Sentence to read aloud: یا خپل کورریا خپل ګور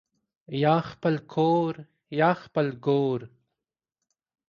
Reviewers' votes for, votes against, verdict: 2, 0, accepted